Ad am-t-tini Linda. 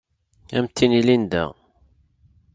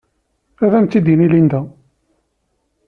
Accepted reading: first